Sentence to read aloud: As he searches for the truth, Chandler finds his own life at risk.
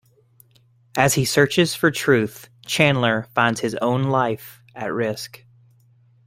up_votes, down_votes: 0, 2